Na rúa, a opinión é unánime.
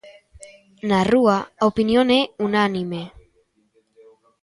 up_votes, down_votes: 1, 2